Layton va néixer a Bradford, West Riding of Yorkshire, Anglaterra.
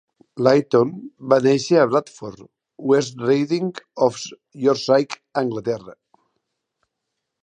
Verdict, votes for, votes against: rejected, 0, 2